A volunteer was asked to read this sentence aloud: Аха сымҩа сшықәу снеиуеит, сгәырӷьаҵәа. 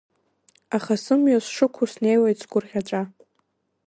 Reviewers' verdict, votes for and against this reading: rejected, 2, 3